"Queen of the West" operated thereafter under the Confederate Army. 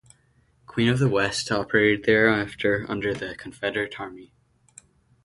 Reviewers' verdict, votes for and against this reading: rejected, 0, 2